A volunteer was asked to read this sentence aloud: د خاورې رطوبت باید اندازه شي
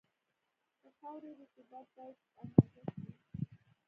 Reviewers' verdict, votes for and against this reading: rejected, 1, 2